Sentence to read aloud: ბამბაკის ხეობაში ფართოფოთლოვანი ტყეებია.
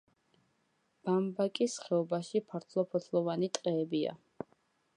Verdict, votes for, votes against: accepted, 2, 0